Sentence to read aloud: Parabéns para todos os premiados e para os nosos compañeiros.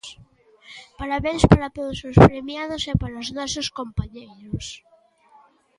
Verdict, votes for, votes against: rejected, 1, 2